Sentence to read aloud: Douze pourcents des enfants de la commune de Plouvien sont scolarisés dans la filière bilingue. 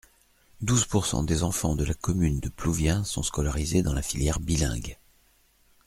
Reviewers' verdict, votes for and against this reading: accepted, 2, 0